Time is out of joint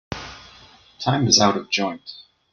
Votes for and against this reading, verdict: 2, 0, accepted